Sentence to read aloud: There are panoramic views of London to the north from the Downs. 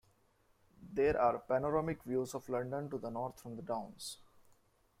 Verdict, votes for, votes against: accepted, 2, 0